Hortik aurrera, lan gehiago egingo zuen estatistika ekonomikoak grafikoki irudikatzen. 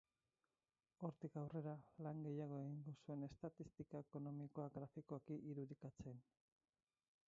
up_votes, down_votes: 2, 4